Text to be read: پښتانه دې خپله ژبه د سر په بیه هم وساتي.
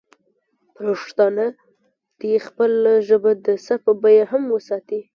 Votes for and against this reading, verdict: 2, 0, accepted